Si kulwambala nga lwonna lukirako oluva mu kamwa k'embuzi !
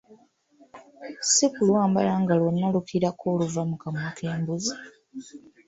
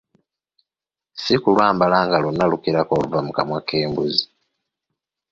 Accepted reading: second